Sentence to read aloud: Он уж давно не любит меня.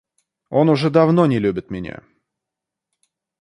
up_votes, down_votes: 1, 2